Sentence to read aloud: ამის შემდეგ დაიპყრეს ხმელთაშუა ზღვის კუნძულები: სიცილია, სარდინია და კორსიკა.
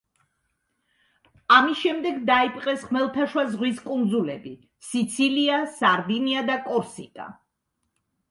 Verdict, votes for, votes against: accepted, 2, 0